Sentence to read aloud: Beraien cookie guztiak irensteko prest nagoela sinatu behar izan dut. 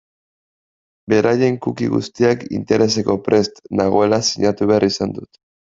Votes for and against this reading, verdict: 1, 2, rejected